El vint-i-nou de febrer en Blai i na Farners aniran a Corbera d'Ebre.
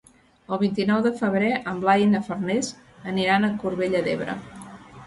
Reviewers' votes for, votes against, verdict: 0, 2, rejected